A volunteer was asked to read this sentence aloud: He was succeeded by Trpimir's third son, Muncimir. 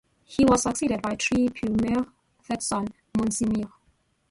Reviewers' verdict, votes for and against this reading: rejected, 0, 2